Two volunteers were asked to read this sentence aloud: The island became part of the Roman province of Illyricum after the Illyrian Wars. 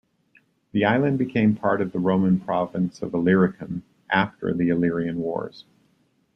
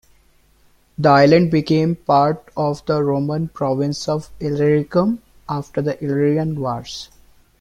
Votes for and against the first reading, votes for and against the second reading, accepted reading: 1, 2, 2, 0, second